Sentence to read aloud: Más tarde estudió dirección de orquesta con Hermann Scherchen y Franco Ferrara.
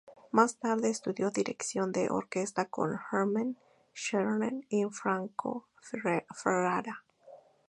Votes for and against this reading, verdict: 2, 0, accepted